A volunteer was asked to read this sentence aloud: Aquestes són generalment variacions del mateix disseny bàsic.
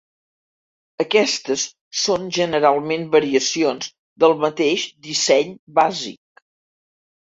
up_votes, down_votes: 3, 0